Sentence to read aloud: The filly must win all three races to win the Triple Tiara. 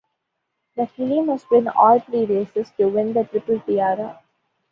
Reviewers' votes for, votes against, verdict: 2, 1, accepted